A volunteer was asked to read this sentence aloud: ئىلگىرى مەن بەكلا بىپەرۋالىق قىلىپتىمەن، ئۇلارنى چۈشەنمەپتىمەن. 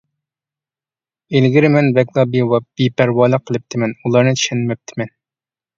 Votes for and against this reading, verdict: 0, 2, rejected